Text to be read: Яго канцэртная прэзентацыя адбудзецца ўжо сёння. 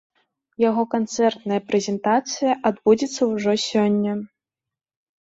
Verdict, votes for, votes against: accepted, 2, 0